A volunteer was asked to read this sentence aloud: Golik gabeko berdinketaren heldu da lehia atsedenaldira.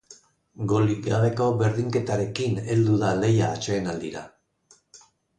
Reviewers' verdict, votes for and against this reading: rejected, 0, 2